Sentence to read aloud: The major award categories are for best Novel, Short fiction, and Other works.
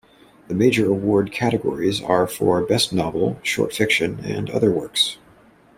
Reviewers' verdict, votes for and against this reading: accepted, 2, 0